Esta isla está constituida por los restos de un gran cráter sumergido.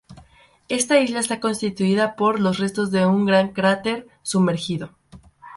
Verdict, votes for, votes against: accepted, 2, 0